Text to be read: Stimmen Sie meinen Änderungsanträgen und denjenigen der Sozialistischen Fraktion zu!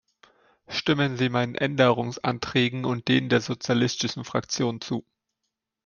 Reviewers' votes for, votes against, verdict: 0, 2, rejected